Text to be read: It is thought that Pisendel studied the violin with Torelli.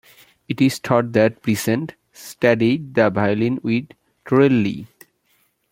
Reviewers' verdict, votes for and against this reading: accepted, 2, 1